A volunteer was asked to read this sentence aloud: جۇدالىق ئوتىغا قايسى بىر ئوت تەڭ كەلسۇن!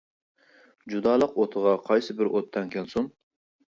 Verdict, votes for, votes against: accepted, 2, 0